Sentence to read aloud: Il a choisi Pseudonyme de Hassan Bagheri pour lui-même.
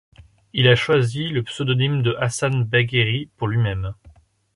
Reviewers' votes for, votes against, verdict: 0, 2, rejected